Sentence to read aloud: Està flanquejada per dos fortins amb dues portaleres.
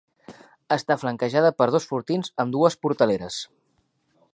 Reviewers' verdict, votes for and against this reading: accepted, 4, 0